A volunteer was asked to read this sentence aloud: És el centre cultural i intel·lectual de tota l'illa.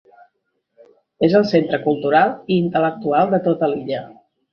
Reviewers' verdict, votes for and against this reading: accepted, 3, 0